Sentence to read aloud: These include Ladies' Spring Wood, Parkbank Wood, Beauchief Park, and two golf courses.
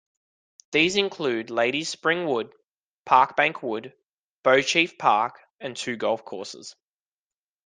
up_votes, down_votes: 2, 0